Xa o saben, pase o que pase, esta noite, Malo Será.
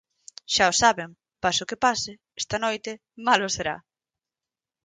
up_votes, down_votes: 4, 0